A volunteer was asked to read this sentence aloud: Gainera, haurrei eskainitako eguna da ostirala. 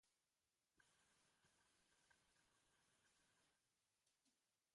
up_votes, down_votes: 0, 3